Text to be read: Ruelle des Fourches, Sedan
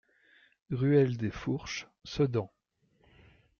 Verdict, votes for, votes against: accepted, 2, 0